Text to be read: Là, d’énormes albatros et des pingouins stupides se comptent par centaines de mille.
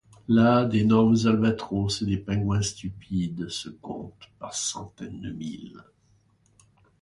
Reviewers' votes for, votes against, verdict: 1, 2, rejected